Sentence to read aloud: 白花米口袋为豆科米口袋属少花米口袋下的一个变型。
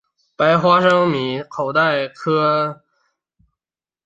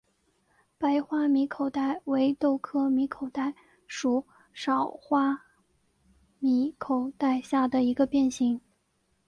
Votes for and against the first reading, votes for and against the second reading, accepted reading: 0, 2, 6, 0, second